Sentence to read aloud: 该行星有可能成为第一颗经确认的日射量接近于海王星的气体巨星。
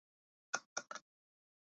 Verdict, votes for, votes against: rejected, 0, 3